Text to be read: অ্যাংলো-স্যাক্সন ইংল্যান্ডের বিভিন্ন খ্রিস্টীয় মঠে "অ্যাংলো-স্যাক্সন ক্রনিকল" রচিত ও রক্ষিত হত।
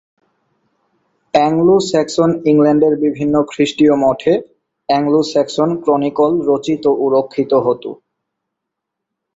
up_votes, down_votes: 4, 2